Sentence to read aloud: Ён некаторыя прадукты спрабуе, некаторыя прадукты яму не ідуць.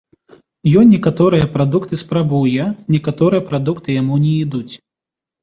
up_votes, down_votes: 0, 2